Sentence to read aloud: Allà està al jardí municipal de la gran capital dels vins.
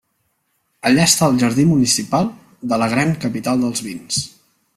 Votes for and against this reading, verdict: 2, 0, accepted